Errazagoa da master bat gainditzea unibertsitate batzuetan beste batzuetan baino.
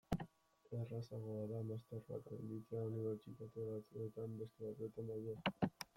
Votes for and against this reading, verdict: 2, 0, accepted